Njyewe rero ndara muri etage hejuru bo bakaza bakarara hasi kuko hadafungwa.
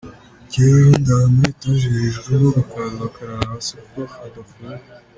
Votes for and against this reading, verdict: 2, 0, accepted